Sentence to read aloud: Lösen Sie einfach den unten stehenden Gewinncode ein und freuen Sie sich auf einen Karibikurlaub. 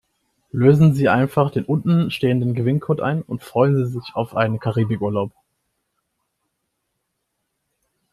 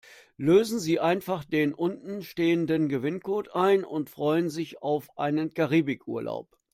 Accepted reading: first